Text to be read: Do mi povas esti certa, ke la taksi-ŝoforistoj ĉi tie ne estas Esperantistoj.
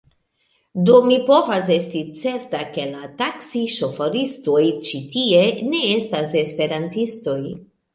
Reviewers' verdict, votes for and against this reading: accepted, 2, 0